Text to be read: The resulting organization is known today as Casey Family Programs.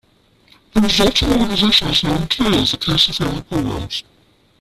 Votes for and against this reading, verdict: 0, 2, rejected